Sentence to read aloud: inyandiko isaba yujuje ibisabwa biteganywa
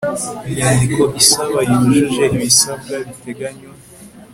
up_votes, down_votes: 3, 0